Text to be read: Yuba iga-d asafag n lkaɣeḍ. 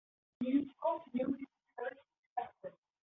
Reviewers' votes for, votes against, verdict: 1, 2, rejected